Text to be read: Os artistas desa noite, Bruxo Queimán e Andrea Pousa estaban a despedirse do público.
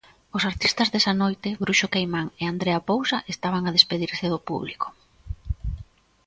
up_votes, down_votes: 2, 0